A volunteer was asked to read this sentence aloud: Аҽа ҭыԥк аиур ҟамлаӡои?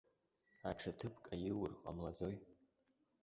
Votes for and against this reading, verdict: 2, 0, accepted